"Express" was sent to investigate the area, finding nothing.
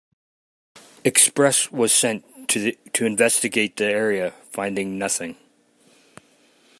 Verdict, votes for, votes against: accepted, 2, 1